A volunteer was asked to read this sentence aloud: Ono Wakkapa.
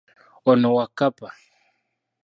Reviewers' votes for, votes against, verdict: 2, 0, accepted